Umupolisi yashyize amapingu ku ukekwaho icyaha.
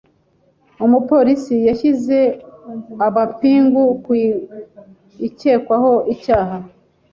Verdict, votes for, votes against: rejected, 1, 2